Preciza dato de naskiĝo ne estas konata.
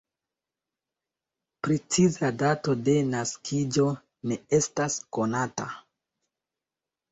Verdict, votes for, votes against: accepted, 2, 0